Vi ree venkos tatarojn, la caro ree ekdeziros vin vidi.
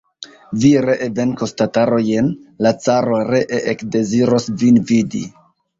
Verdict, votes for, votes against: accepted, 2, 1